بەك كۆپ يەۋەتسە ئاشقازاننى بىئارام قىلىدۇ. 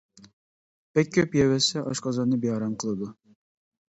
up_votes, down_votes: 2, 0